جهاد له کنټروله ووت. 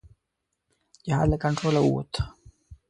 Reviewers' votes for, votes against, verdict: 2, 0, accepted